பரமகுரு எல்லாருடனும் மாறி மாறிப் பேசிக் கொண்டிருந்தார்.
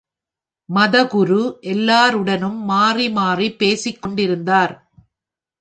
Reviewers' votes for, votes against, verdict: 1, 2, rejected